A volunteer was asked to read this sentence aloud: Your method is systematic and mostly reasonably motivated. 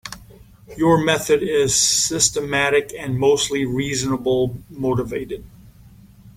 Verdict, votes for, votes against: rejected, 1, 2